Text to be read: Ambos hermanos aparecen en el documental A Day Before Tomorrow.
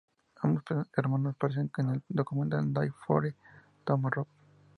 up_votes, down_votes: 2, 0